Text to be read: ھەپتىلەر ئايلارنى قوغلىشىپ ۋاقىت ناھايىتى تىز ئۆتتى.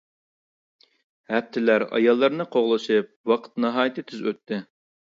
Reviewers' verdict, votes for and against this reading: rejected, 1, 2